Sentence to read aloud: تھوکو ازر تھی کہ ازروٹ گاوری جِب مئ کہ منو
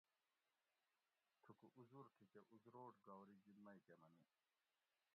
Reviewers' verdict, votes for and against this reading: rejected, 0, 2